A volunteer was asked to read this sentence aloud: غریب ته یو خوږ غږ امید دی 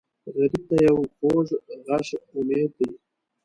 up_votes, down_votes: 2, 3